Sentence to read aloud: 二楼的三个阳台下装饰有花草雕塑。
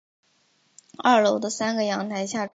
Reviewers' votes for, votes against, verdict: 1, 3, rejected